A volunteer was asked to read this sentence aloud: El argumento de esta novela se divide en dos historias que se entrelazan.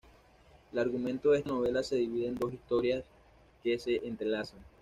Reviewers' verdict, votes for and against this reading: accepted, 2, 0